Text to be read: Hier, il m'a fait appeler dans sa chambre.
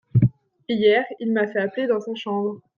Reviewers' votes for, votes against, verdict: 2, 0, accepted